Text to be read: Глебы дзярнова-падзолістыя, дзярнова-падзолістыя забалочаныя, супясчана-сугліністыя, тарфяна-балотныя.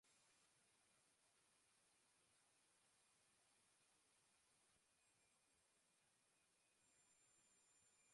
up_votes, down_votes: 0, 2